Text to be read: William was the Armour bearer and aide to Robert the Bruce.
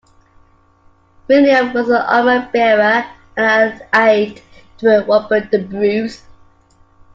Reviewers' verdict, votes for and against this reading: rejected, 1, 2